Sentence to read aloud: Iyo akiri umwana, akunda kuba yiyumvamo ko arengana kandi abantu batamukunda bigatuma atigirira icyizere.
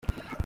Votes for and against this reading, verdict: 0, 2, rejected